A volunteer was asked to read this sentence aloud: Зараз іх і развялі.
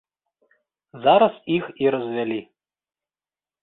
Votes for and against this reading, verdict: 2, 0, accepted